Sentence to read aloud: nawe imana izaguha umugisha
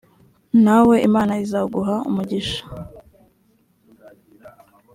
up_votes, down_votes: 2, 0